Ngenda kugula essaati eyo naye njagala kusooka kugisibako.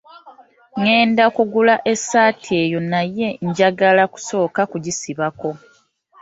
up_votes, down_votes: 2, 0